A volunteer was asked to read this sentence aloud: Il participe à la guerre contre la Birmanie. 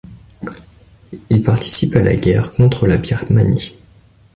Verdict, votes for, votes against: accepted, 2, 0